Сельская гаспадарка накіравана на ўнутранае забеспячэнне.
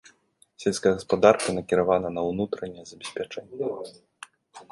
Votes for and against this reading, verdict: 0, 2, rejected